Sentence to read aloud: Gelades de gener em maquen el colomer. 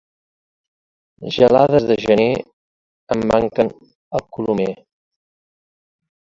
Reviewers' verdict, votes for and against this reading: rejected, 0, 2